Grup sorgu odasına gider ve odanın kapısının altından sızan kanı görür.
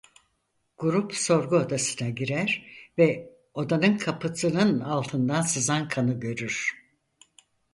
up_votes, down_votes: 0, 4